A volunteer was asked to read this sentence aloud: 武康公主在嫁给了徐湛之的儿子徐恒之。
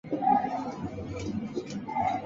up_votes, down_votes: 1, 3